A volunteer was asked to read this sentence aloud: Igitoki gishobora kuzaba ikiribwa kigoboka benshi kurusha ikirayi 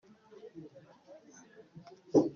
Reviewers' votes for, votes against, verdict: 0, 2, rejected